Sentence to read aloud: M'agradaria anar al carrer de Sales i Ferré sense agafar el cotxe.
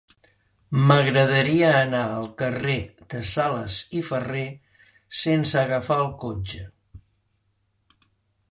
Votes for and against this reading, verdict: 2, 0, accepted